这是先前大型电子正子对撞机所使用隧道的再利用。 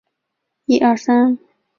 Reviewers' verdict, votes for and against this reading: rejected, 0, 3